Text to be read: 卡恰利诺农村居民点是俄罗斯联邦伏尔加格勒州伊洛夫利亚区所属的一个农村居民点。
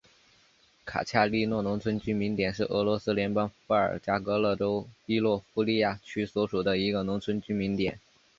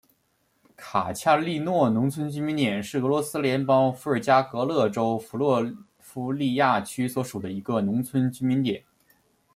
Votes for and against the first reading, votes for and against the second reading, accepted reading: 2, 0, 1, 2, first